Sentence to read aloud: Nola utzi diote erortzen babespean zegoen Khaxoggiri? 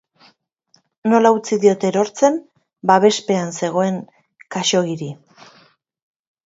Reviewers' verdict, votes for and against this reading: accepted, 2, 0